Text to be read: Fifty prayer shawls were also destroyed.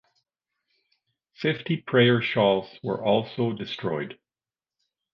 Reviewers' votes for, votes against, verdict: 2, 0, accepted